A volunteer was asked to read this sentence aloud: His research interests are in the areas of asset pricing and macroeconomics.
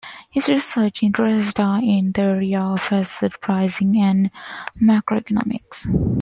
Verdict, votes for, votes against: rejected, 0, 2